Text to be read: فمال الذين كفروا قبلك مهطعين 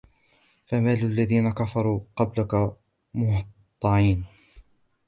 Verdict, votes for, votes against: rejected, 1, 2